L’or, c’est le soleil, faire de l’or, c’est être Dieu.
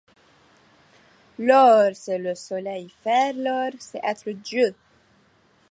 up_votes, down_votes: 0, 2